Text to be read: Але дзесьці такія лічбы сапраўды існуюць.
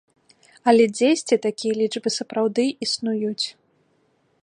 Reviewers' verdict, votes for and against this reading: accepted, 2, 0